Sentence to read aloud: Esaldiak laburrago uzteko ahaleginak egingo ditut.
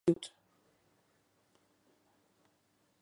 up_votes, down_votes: 0, 2